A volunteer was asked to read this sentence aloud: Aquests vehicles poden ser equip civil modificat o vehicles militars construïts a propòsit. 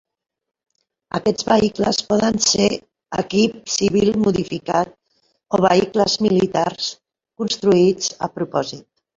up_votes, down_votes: 3, 0